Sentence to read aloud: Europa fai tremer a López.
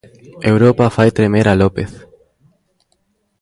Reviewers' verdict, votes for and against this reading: rejected, 0, 2